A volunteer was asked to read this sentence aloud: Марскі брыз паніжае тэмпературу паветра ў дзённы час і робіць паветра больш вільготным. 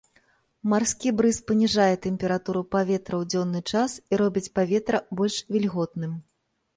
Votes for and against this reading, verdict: 2, 0, accepted